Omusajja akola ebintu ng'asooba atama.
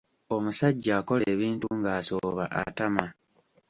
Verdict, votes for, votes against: accepted, 2, 1